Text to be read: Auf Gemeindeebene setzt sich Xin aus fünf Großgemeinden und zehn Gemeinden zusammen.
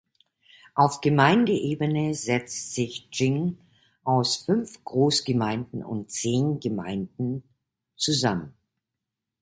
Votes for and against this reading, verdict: 2, 1, accepted